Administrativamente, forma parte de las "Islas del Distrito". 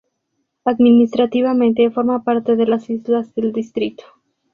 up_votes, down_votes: 2, 0